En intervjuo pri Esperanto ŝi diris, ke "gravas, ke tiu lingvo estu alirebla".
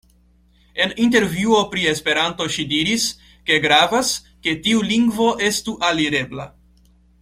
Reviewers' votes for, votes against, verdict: 2, 0, accepted